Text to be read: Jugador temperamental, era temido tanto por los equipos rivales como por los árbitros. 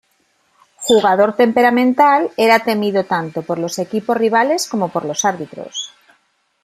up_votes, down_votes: 2, 0